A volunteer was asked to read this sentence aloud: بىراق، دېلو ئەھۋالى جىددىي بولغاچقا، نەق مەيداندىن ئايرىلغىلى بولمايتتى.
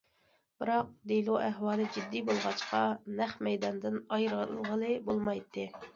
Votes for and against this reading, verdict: 2, 0, accepted